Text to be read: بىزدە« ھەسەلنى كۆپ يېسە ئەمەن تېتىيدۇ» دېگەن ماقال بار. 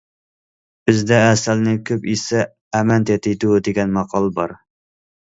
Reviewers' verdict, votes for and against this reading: rejected, 1, 2